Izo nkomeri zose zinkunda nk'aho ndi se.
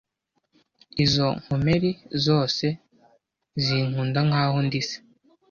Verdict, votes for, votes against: accepted, 2, 0